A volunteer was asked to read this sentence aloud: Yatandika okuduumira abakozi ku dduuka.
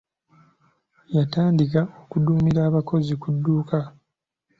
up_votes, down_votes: 2, 1